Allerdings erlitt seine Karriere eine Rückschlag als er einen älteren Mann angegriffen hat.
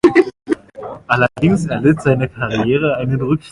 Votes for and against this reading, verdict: 0, 2, rejected